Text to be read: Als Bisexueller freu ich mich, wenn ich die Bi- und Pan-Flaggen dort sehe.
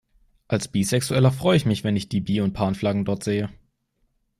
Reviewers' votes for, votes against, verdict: 2, 0, accepted